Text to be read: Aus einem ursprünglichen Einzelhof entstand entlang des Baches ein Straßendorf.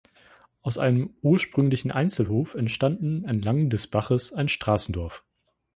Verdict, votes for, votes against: rejected, 1, 3